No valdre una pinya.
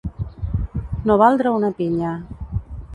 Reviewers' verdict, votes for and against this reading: rejected, 1, 2